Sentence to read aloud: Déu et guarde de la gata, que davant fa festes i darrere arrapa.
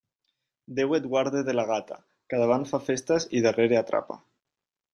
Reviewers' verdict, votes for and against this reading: rejected, 1, 2